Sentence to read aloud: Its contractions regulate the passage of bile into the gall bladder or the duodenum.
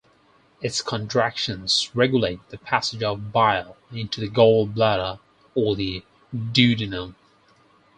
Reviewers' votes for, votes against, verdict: 4, 0, accepted